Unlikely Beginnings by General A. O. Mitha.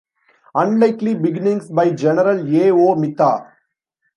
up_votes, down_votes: 1, 2